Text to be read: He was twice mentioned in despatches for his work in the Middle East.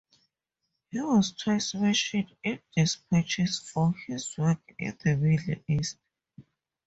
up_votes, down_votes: 2, 2